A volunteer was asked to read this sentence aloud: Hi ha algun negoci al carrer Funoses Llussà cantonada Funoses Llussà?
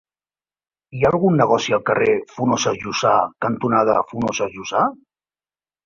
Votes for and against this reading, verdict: 1, 2, rejected